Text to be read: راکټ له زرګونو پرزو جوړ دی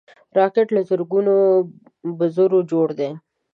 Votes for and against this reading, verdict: 0, 2, rejected